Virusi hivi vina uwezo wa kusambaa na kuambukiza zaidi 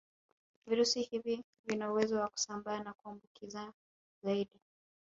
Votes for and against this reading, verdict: 2, 0, accepted